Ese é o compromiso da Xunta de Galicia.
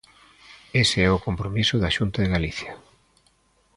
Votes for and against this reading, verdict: 2, 0, accepted